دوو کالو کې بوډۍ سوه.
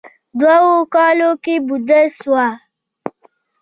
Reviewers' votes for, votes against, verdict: 1, 2, rejected